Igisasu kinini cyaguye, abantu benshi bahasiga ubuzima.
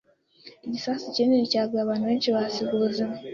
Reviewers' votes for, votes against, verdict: 2, 0, accepted